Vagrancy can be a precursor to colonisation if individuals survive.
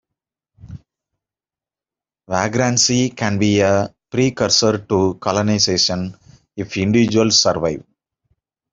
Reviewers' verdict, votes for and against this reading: rejected, 0, 2